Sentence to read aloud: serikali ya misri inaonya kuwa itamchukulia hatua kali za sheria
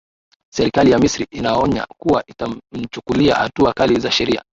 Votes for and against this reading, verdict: 2, 1, accepted